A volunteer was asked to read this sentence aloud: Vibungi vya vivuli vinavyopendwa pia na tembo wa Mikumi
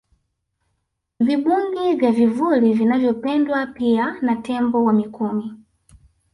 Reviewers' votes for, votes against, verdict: 3, 0, accepted